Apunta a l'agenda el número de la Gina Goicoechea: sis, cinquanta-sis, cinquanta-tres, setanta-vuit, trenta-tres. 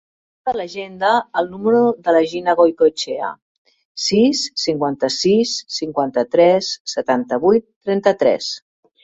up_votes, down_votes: 1, 2